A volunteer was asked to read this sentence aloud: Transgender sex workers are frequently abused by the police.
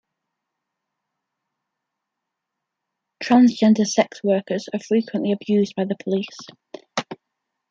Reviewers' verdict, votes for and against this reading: accepted, 2, 0